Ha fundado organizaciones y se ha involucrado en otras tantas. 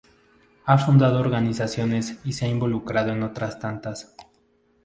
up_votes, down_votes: 0, 2